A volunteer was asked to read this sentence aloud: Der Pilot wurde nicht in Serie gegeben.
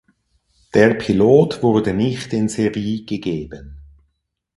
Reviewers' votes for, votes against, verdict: 0, 4, rejected